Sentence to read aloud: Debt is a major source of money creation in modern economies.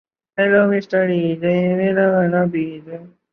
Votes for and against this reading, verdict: 0, 2, rejected